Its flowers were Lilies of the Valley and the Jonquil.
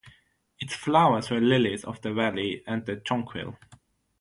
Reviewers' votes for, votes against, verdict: 6, 0, accepted